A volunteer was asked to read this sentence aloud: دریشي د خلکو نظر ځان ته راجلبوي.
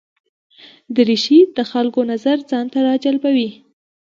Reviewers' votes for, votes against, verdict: 2, 1, accepted